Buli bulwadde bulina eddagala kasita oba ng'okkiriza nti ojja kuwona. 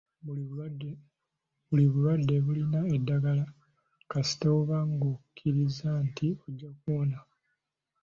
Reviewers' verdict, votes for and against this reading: rejected, 1, 2